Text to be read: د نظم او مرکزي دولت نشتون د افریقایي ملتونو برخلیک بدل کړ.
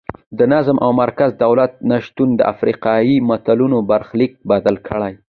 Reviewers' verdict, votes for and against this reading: accepted, 2, 1